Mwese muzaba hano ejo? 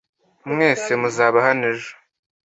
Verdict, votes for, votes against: accepted, 2, 0